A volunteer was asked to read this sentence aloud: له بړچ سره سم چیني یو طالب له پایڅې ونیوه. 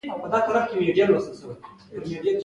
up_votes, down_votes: 2, 1